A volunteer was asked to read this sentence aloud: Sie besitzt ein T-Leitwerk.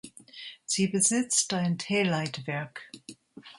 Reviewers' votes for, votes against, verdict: 2, 0, accepted